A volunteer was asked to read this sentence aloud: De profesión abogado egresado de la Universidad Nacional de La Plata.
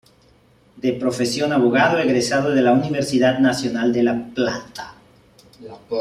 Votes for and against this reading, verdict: 0, 2, rejected